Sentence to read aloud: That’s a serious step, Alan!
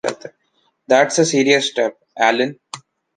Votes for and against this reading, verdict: 2, 0, accepted